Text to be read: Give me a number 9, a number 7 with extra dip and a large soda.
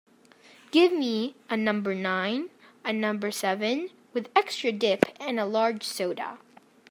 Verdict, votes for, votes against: rejected, 0, 2